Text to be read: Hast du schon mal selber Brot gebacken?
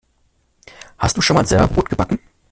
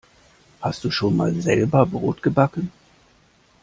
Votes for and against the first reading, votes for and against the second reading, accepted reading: 0, 2, 2, 0, second